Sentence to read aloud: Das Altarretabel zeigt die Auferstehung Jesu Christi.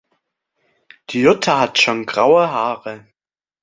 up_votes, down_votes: 0, 2